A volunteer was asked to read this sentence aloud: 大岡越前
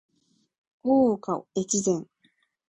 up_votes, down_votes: 14, 3